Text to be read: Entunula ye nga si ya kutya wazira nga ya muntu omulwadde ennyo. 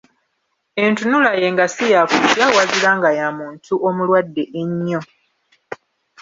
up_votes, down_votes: 1, 2